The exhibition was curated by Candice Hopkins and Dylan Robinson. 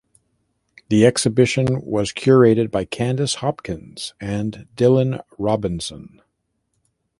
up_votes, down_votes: 2, 0